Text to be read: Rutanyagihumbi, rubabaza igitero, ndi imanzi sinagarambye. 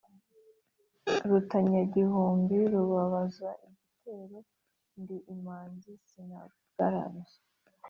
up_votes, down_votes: 1, 2